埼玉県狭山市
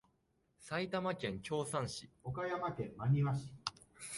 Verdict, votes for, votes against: rejected, 0, 2